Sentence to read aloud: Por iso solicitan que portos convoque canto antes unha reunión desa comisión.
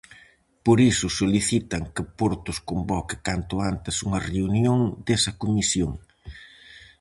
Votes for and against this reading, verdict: 4, 0, accepted